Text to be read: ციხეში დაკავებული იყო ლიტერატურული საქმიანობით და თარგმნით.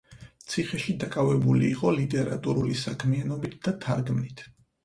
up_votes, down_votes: 4, 0